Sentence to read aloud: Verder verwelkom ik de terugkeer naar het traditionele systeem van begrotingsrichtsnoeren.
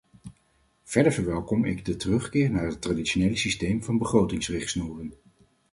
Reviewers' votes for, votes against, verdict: 4, 0, accepted